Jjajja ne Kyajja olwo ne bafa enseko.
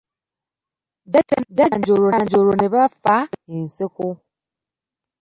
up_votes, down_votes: 0, 2